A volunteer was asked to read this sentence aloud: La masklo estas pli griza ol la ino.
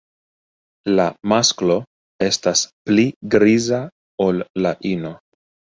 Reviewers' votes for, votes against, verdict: 1, 2, rejected